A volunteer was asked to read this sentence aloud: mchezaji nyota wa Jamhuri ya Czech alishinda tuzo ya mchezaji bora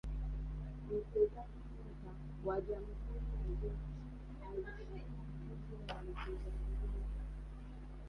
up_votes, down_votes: 0, 2